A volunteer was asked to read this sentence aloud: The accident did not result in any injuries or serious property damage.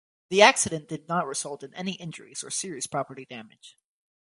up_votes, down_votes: 4, 0